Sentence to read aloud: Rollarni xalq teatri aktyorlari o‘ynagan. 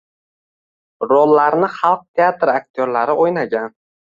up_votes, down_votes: 2, 0